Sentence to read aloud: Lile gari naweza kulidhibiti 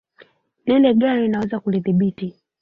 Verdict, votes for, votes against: rejected, 1, 2